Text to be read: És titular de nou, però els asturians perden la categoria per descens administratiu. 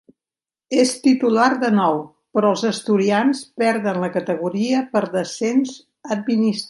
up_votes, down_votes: 1, 2